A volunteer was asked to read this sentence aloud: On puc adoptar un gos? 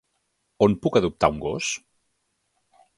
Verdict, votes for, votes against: accepted, 3, 0